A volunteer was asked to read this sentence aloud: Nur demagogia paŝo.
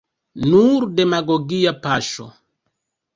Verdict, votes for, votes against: accepted, 2, 1